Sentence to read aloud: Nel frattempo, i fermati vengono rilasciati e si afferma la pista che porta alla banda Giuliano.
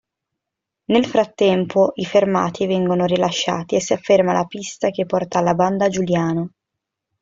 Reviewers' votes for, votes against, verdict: 2, 0, accepted